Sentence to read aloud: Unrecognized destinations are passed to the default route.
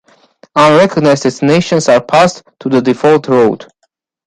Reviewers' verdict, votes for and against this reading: rejected, 1, 2